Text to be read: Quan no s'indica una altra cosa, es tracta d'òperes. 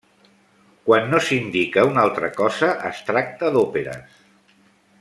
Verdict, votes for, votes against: rejected, 1, 2